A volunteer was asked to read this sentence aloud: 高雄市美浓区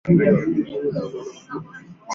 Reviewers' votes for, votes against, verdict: 0, 3, rejected